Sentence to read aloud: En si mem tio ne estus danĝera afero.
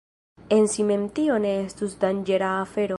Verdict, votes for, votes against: accepted, 2, 0